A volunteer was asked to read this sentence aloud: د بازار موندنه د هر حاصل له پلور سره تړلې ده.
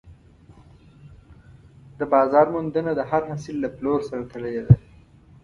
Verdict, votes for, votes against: accepted, 2, 0